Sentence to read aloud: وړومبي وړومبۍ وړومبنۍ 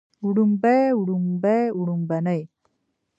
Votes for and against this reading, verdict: 1, 2, rejected